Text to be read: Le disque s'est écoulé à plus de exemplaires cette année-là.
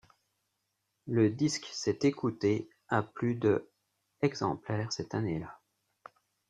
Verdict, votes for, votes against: rejected, 0, 2